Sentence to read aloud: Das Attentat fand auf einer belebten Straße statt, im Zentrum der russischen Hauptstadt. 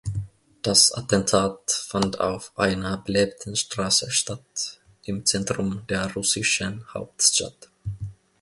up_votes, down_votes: 2, 1